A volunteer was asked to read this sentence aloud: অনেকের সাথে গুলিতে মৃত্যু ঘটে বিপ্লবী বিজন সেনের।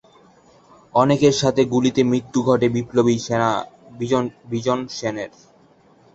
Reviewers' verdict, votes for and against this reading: rejected, 1, 2